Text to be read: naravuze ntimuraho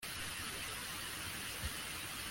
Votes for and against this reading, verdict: 0, 2, rejected